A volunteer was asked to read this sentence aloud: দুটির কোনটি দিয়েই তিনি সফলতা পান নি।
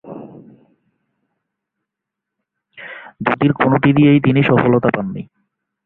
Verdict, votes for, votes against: accepted, 4, 0